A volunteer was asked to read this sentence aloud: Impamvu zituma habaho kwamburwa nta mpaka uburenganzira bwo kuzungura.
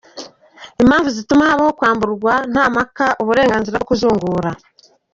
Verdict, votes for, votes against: rejected, 0, 2